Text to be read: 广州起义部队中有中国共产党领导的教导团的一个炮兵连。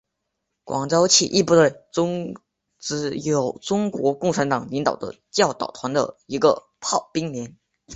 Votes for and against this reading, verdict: 1, 3, rejected